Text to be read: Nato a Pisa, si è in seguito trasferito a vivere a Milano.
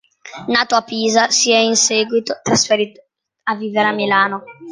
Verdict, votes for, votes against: accepted, 2, 0